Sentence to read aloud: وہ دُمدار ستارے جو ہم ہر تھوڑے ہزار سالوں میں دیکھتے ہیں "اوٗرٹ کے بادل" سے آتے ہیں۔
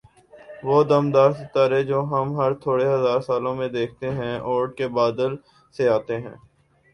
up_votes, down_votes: 1, 2